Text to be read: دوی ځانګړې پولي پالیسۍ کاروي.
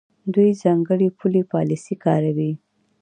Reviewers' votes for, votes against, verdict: 2, 0, accepted